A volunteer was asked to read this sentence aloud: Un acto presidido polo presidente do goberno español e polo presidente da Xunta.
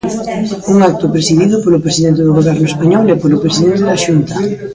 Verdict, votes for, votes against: rejected, 1, 2